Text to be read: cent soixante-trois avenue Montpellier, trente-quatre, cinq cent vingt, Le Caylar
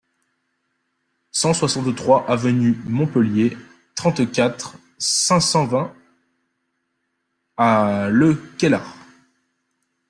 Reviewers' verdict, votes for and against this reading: rejected, 0, 2